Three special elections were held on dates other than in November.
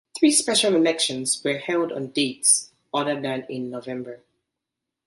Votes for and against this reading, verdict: 2, 0, accepted